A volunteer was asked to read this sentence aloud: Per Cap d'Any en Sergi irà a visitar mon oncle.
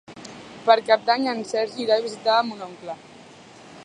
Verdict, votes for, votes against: accepted, 2, 0